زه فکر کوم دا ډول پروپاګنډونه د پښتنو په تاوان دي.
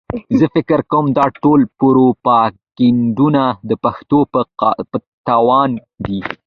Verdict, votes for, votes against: accepted, 2, 1